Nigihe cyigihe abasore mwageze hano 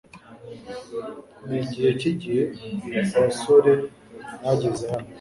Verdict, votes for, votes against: accepted, 2, 0